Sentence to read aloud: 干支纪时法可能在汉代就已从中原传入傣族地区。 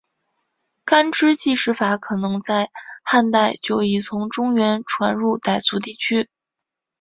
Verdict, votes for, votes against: accepted, 3, 0